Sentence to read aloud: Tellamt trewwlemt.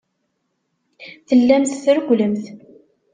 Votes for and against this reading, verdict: 2, 0, accepted